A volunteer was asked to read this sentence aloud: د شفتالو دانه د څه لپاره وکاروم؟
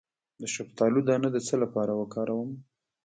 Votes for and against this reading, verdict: 1, 2, rejected